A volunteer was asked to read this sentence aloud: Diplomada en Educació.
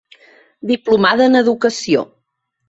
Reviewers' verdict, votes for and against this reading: accepted, 3, 0